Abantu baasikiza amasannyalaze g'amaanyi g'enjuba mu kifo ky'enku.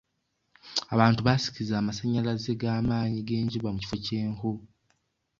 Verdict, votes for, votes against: accepted, 2, 0